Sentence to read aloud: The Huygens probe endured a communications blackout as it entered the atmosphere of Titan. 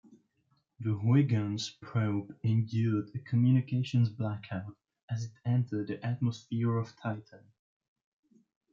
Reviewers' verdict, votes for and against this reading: rejected, 1, 2